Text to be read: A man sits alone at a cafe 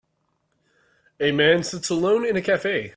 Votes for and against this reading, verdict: 1, 2, rejected